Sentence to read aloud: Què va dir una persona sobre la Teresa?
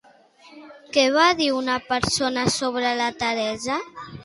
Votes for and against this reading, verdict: 2, 0, accepted